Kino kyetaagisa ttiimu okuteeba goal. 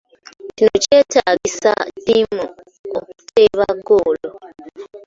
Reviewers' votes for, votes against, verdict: 2, 1, accepted